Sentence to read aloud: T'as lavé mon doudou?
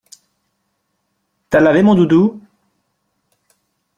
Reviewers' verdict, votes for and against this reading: accepted, 2, 0